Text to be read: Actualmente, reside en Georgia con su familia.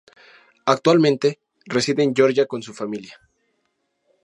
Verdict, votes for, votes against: accepted, 4, 0